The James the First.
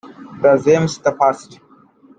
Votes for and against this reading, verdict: 0, 2, rejected